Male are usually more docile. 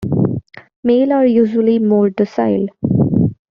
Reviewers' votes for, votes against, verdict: 2, 0, accepted